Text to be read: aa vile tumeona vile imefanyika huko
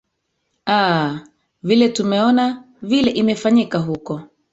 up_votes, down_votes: 0, 2